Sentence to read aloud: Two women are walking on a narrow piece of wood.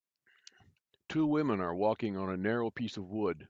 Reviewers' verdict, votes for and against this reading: accepted, 2, 0